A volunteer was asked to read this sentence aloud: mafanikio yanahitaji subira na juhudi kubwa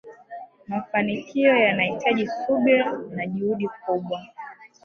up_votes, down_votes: 2, 1